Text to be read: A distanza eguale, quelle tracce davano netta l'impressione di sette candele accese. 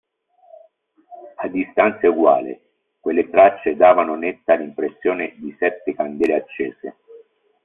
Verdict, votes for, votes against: rejected, 1, 2